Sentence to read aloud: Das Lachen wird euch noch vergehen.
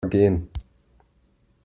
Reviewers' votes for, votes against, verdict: 0, 2, rejected